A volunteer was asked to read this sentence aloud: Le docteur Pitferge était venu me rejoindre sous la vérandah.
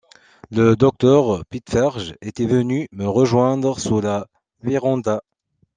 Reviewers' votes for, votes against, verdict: 2, 0, accepted